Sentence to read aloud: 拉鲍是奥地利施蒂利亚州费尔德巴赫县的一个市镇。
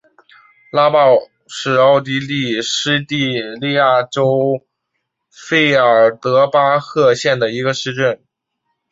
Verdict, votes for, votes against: accepted, 4, 0